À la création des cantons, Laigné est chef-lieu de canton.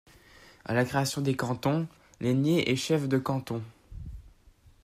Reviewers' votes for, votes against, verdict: 1, 2, rejected